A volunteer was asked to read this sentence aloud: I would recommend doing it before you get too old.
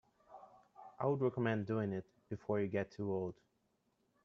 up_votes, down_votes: 2, 0